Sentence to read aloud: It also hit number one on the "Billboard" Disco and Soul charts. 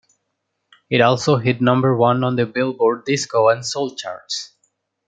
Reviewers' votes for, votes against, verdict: 2, 0, accepted